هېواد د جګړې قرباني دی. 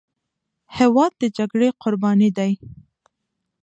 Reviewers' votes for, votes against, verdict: 2, 0, accepted